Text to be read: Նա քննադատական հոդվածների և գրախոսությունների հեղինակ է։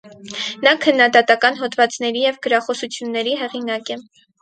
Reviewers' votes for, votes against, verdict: 4, 0, accepted